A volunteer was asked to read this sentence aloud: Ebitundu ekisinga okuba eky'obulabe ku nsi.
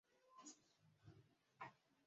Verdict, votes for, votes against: rejected, 0, 2